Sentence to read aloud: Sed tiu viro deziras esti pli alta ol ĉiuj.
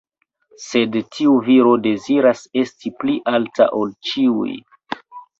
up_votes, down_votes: 0, 2